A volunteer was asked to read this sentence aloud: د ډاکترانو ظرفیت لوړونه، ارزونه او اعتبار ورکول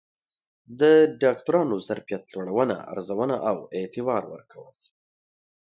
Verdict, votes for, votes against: accepted, 2, 0